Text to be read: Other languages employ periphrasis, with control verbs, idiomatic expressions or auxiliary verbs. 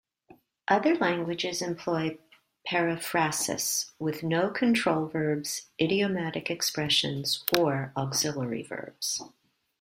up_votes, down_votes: 0, 2